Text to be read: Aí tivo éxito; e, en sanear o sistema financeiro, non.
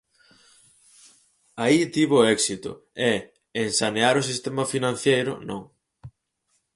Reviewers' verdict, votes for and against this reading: rejected, 0, 4